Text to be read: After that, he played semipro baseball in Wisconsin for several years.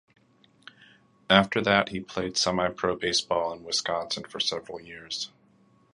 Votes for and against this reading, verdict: 2, 0, accepted